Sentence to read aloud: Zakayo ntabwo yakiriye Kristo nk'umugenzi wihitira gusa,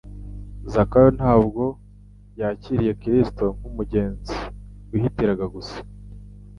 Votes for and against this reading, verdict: 1, 2, rejected